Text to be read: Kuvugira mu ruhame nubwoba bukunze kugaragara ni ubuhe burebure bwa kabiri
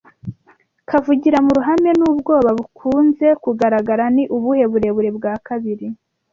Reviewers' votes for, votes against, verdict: 1, 2, rejected